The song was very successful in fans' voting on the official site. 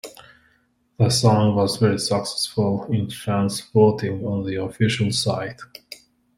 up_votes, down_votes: 2, 0